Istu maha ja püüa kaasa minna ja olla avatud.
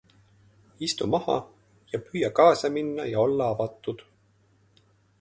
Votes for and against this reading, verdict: 2, 0, accepted